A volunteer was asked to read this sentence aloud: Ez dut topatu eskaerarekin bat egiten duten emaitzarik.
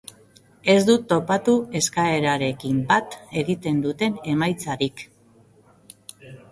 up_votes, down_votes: 3, 1